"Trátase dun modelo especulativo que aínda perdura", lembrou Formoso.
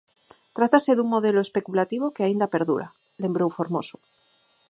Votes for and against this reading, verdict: 4, 0, accepted